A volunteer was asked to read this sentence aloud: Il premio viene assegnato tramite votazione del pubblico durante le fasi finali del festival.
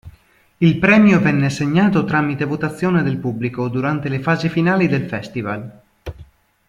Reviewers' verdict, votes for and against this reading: rejected, 1, 2